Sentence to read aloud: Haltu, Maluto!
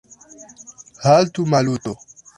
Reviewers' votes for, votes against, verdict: 2, 1, accepted